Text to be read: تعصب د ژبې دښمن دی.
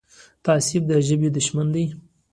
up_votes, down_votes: 1, 2